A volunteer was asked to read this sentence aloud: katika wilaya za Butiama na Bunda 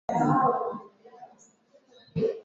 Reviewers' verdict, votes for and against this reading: rejected, 1, 4